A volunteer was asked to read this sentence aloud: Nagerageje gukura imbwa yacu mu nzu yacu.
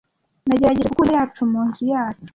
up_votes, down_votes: 1, 2